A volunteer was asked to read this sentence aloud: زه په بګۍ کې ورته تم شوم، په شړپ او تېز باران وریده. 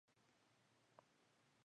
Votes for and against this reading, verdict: 0, 2, rejected